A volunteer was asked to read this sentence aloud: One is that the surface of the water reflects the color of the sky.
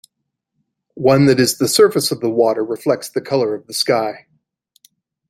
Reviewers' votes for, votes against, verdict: 0, 2, rejected